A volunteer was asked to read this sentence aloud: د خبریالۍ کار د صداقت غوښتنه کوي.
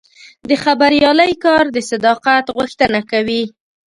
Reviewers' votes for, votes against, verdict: 1, 2, rejected